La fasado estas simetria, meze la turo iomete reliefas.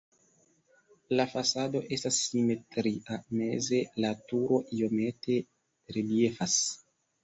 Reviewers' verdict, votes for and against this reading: accepted, 2, 0